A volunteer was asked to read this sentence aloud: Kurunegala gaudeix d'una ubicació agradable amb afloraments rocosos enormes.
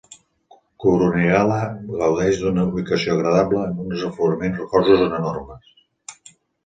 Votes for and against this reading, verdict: 1, 2, rejected